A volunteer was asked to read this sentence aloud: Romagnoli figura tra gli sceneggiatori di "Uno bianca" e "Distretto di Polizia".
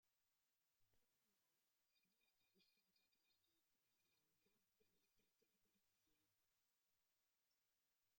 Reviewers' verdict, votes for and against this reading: rejected, 0, 2